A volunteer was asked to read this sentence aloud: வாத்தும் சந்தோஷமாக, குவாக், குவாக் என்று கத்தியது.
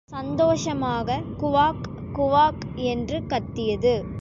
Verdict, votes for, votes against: rejected, 0, 2